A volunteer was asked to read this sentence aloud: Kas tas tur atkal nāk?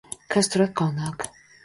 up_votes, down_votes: 2, 0